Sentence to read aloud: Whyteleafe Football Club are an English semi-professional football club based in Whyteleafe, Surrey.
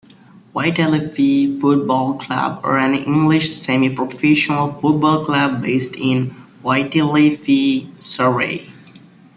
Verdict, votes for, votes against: rejected, 1, 2